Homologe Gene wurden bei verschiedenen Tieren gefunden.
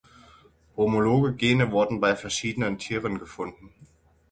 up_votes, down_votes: 6, 0